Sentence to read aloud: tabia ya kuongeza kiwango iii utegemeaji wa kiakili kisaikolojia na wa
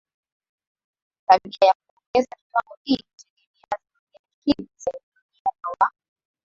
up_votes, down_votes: 0, 2